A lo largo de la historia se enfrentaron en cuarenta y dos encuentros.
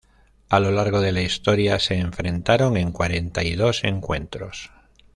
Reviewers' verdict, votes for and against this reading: accepted, 2, 0